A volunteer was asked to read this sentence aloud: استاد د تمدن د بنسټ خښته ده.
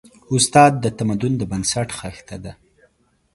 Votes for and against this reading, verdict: 3, 0, accepted